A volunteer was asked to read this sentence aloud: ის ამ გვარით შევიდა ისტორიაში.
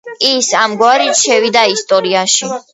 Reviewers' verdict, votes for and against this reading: rejected, 1, 2